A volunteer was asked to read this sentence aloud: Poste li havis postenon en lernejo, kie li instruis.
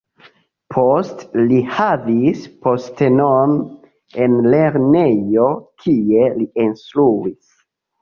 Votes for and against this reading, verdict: 1, 2, rejected